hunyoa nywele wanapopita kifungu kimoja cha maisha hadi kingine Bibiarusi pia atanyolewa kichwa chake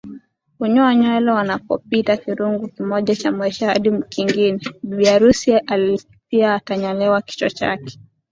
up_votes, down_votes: 2, 1